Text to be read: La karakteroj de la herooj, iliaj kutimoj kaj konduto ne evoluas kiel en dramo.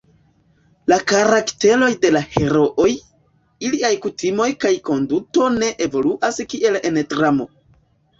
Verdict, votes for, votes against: rejected, 0, 2